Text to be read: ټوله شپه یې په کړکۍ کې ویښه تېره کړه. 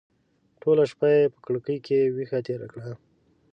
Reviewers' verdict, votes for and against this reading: accepted, 2, 0